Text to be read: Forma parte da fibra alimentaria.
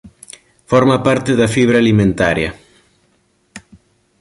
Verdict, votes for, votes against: accepted, 3, 0